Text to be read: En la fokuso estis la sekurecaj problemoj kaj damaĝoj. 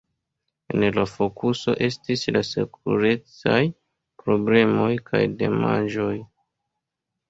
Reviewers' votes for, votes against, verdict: 1, 2, rejected